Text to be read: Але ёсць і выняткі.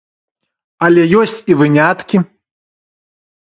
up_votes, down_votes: 2, 1